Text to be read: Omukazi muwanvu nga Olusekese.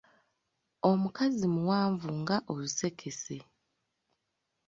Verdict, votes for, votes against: accepted, 2, 0